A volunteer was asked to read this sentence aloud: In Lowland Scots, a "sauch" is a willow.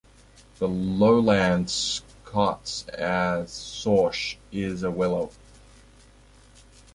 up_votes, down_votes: 2, 0